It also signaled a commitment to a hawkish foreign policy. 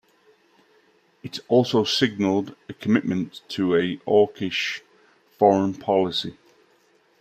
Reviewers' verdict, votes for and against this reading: accepted, 2, 0